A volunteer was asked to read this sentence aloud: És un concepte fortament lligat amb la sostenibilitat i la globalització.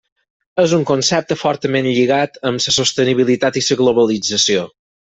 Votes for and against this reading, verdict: 0, 4, rejected